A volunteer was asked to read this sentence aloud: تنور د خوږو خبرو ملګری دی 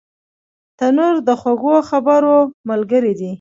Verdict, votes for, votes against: rejected, 1, 2